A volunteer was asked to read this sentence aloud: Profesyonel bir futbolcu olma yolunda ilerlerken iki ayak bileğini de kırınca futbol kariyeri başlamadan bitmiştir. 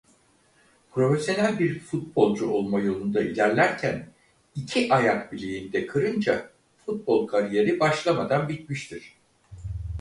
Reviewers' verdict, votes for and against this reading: accepted, 4, 0